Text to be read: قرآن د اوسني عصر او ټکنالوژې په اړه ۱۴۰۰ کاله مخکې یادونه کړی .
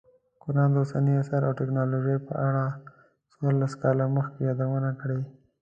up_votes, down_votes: 0, 2